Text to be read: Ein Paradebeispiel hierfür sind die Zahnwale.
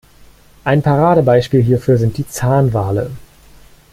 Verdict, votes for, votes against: accepted, 2, 0